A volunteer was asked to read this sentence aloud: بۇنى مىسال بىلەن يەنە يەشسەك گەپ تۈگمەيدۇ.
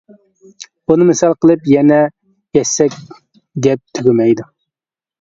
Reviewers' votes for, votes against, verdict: 0, 2, rejected